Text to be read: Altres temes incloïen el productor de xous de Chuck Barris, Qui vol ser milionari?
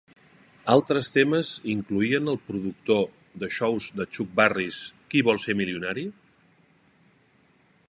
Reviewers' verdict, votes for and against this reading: accepted, 2, 0